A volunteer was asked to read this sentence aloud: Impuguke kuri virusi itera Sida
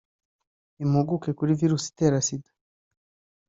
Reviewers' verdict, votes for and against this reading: accepted, 2, 0